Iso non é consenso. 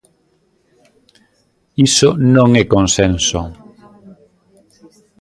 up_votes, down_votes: 0, 2